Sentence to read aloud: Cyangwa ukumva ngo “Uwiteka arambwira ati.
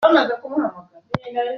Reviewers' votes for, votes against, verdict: 0, 3, rejected